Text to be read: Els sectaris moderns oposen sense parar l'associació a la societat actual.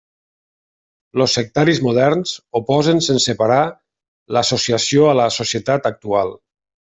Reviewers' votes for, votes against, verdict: 0, 2, rejected